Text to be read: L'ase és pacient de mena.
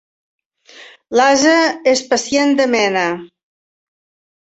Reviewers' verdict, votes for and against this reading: accepted, 2, 0